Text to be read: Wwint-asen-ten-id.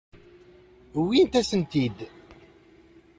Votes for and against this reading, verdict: 0, 2, rejected